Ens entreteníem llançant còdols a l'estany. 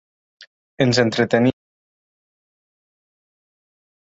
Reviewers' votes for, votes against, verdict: 1, 2, rejected